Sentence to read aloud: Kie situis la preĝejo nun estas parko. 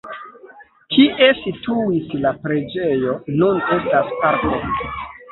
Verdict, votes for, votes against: rejected, 0, 2